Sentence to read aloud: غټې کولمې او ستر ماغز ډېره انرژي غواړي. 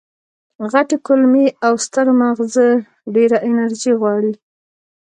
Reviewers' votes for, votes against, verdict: 1, 2, rejected